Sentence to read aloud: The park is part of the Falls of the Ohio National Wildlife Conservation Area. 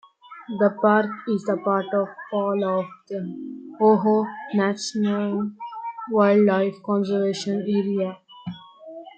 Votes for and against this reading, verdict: 1, 2, rejected